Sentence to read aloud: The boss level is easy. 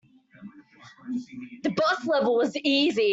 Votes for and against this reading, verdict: 1, 2, rejected